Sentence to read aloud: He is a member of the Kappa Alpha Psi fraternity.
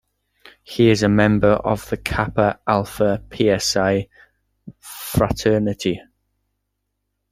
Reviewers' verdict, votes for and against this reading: rejected, 0, 2